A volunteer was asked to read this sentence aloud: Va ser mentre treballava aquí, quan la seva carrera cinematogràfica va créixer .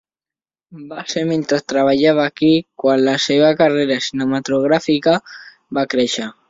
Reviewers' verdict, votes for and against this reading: accepted, 3, 0